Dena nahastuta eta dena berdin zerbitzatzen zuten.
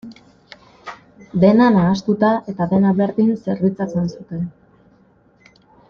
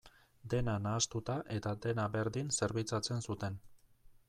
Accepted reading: second